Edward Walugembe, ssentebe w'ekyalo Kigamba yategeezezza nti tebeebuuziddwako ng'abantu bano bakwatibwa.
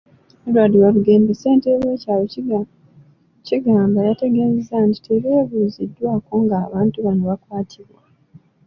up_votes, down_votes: 2, 1